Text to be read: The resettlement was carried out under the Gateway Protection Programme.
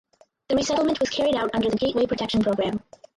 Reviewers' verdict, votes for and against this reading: rejected, 2, 4